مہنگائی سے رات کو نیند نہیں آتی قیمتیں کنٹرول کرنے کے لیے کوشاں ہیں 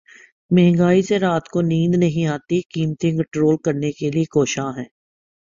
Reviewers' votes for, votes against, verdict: 1, 2, rejected